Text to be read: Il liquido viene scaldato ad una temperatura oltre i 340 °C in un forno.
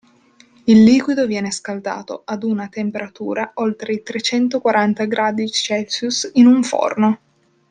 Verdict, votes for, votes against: rejected, 0, 2